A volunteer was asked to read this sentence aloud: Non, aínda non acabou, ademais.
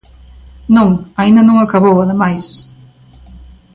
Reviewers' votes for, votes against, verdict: 2, 0, accepted